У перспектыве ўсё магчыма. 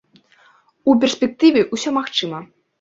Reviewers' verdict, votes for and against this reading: accepted, 2, 0